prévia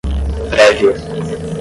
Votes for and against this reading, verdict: 5, 0, accepted